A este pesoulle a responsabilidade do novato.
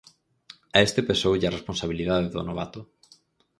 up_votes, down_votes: 4, 0